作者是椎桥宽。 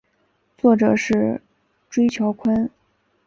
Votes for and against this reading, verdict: 5, 0, accepted